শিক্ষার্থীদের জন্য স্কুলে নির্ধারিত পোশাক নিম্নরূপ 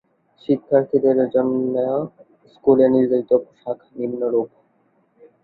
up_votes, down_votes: 2, 4